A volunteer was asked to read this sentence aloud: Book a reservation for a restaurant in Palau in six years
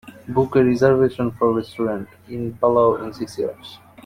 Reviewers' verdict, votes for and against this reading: rejected, 0, 3